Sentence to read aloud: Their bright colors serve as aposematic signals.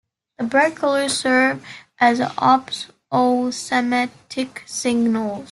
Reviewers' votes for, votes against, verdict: 1, 2, rejected